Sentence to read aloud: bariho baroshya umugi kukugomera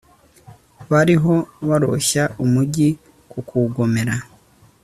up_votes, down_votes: 2, 1